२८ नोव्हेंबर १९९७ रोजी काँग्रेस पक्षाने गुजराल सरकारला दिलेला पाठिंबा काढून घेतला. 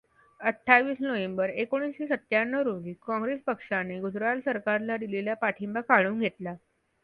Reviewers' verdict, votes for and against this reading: rejected, 0, 2